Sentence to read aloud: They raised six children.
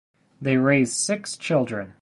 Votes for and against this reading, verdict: 2, 0, accepted